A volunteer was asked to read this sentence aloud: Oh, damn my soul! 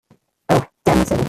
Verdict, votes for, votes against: rejected, 1, 2